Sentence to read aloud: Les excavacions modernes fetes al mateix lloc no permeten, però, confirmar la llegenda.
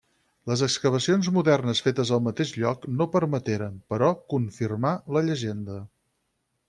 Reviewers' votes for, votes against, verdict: 2, 4, rejected